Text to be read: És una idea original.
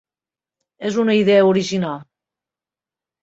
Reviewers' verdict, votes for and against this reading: accepted, 2, 0